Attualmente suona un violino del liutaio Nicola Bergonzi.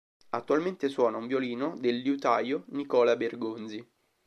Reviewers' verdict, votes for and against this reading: accepted, 2, 0